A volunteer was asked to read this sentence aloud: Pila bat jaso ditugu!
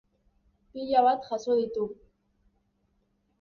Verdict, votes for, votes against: rejected, 2, 3